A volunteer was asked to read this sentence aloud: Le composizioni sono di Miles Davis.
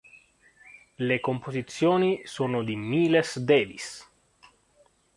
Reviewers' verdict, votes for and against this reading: rejected, 0, 2